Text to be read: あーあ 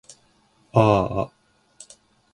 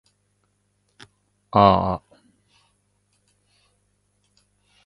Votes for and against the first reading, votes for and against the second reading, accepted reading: 1, 2, 2, 0, second